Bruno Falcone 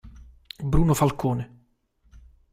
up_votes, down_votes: 2, 0